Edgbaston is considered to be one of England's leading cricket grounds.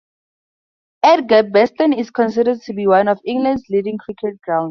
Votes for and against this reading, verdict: 0, 4, rejected